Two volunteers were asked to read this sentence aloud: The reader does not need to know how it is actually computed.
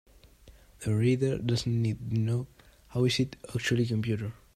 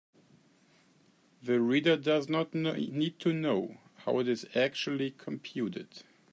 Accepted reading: second